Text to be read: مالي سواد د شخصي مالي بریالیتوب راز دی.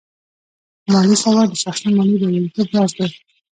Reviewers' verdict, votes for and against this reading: rejected, 1, 2